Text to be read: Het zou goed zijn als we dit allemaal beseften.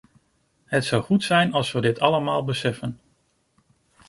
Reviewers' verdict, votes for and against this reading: rejected, 0, 2